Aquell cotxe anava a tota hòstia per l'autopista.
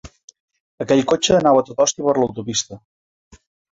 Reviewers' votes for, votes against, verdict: 0, 2, rejected